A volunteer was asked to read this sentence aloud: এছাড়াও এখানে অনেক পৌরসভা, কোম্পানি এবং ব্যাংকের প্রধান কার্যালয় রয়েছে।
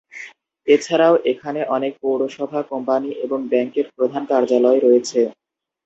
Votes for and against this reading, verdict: 2, 0, accepted